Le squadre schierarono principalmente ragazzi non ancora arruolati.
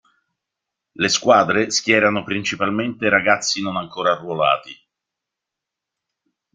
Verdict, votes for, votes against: rejected, 2, 3